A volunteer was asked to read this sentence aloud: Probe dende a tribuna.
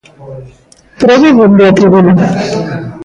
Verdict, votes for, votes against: rejected, 0, 2